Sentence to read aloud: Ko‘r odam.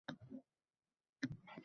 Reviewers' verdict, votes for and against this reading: rejected, 0, 2